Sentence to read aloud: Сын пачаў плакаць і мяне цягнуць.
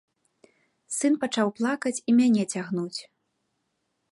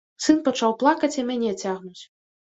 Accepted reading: first